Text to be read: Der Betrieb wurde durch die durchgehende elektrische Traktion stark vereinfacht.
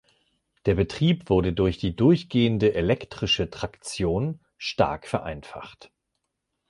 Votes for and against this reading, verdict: 2, 0, accepted